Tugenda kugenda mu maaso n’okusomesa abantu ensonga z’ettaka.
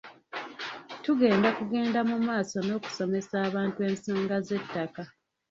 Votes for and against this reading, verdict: 0, 2, rejected